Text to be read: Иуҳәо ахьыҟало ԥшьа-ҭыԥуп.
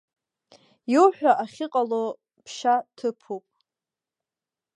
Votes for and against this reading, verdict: 2, 0, accepted